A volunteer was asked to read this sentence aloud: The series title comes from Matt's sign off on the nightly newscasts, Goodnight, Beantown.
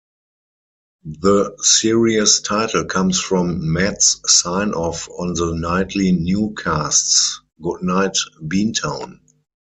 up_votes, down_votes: 0, 4